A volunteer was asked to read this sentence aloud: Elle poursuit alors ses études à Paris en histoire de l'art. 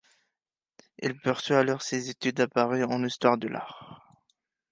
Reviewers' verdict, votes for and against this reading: accepted, 2, 0